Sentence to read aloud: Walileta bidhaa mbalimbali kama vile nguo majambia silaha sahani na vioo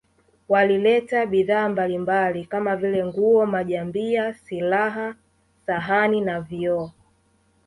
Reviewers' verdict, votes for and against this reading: accepted, 3, 0